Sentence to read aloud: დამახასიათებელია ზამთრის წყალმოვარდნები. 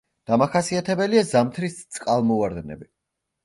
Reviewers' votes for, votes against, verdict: 2, 0, accepted